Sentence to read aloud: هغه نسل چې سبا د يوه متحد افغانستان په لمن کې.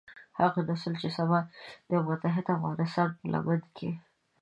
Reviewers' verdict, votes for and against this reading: accepted, 2, 0